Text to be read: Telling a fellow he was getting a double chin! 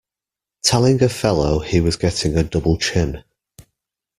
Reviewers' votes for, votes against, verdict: 2, 1, accepted